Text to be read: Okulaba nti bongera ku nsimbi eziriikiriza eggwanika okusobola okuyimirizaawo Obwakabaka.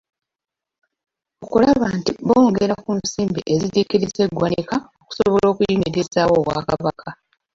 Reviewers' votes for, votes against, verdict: 1, 2, rejected